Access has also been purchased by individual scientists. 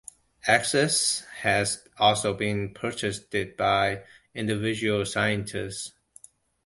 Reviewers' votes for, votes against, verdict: 2, 1, accepted